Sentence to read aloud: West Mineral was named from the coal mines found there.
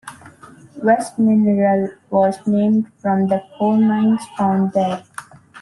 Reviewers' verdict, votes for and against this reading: accepted, 2, 0